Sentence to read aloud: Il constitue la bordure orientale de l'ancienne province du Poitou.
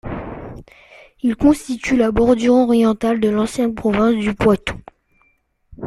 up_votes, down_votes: 2, 1